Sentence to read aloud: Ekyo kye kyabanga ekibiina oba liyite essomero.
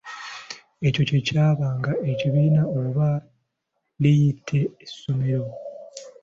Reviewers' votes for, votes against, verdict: 2, 0, accepted